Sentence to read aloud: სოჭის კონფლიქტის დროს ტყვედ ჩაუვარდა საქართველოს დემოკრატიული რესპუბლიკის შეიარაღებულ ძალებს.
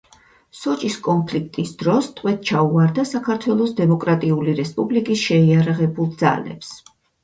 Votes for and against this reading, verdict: 4, 0, accepted